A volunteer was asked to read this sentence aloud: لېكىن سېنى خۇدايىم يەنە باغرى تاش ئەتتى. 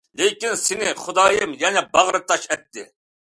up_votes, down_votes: 2, 0